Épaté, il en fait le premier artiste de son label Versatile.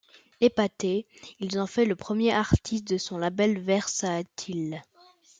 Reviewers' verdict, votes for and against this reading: rejected, 0, 2